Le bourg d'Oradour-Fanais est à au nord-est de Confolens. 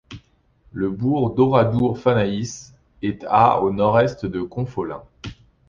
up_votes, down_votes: 1, 2